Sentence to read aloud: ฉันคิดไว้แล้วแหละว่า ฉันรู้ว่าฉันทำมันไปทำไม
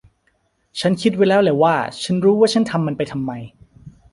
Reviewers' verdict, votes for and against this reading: accepted, 2, 0